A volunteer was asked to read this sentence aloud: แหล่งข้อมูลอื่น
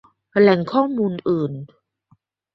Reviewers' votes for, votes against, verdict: 2, 0, accepted